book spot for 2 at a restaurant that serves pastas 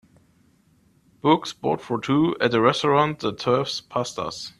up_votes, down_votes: 0, 2